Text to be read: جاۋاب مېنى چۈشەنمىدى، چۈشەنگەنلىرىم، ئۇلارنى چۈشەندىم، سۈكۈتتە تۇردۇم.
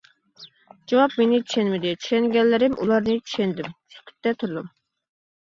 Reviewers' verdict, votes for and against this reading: accepted, 2, 0